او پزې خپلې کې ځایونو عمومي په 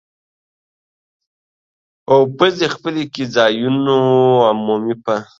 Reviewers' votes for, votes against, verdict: 2, 0, accepted